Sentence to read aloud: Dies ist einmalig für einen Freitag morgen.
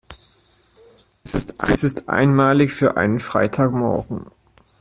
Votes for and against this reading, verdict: 0, 2, rejected